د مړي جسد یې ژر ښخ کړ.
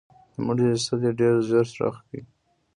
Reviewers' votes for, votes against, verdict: 1, 2, rejected